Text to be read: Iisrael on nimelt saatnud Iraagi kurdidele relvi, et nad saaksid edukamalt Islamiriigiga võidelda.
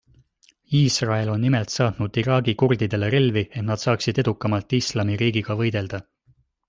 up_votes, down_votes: 2, 0